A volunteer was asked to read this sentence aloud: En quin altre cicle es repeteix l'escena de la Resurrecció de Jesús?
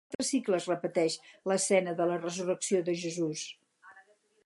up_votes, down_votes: 0, 4